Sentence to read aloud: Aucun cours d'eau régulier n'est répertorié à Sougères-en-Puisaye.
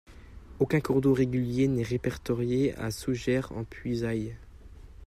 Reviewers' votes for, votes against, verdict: 2, 0, accepted